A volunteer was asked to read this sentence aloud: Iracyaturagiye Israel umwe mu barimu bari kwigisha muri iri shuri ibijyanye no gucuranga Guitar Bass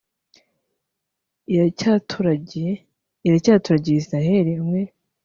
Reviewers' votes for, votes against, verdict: 0, 2, rejected